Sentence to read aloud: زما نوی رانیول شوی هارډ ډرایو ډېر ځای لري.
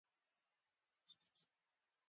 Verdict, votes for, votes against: rejected, 0, 2